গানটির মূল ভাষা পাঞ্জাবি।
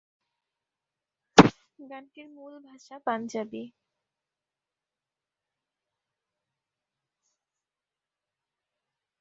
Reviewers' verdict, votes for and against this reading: rejected, 1, 2